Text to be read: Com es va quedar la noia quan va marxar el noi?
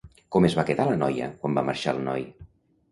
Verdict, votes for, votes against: accepted, 2, 0